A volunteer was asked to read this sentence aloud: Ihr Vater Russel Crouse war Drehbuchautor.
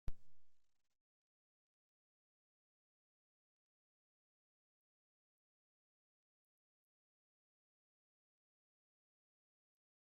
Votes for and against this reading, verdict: 0, 2, rejected